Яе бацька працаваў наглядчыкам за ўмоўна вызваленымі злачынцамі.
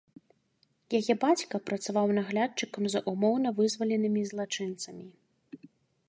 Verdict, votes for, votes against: accepted, 2, 0